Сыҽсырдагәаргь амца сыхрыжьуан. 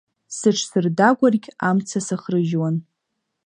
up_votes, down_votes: 2, 0